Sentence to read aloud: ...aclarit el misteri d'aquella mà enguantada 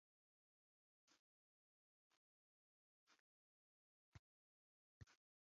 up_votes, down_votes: 0, 2